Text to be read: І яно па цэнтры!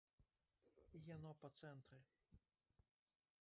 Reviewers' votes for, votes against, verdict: 1, 2, rejected